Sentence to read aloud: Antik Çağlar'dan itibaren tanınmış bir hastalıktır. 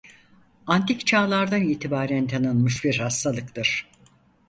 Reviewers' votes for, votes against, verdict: 4, 0, accepted